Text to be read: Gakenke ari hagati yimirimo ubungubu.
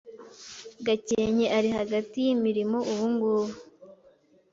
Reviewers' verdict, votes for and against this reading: accepted, 2, 0